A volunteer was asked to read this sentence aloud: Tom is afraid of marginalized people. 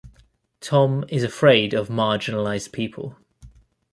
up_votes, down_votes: 2, 0